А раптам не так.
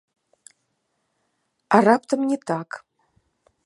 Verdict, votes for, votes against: rejected, 1, 2